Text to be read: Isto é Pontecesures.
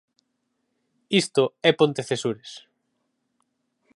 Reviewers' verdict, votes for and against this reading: accepted, 4, 0